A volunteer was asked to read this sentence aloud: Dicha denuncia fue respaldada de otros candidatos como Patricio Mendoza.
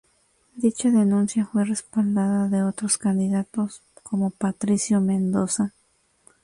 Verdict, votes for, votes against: accepted, 2, 0